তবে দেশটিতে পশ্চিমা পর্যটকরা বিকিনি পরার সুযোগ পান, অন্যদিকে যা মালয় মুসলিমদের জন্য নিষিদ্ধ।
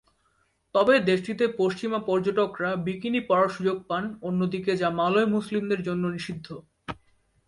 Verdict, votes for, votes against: accepted, 3, 0